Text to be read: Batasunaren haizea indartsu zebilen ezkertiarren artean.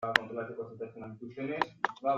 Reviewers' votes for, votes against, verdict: 0, 2, rejected